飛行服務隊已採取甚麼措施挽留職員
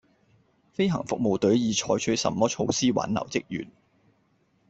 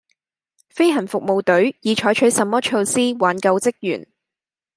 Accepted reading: first